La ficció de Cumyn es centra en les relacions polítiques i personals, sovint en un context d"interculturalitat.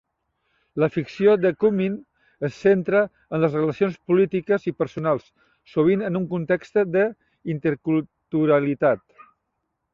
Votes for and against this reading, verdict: 0, 2, rejected